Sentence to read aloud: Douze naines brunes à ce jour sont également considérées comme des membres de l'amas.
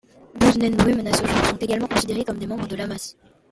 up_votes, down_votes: 0, 2